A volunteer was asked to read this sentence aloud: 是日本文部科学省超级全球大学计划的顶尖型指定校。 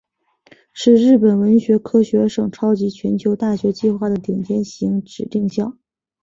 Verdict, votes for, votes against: rejected, 1, 2